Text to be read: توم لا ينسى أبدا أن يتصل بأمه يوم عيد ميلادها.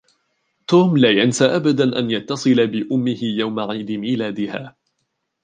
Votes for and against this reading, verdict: 1, 2, rejected